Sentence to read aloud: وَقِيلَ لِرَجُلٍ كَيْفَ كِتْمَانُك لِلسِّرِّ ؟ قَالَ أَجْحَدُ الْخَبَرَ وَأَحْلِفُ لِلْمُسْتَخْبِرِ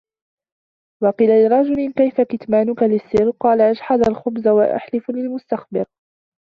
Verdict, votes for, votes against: rejected, 0, 2